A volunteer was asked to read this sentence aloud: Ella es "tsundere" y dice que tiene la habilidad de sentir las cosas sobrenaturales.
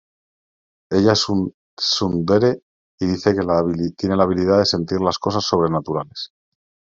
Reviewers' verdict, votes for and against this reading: rejected, 1, 2